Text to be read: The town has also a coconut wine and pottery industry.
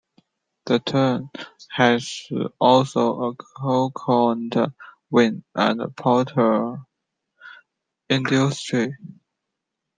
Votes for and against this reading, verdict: 0, 2, rejected